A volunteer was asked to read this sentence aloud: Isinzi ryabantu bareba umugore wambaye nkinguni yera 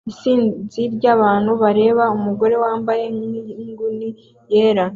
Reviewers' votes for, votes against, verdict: 2, 0, accepted